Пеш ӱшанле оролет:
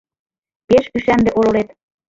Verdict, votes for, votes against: rejected, 1, 2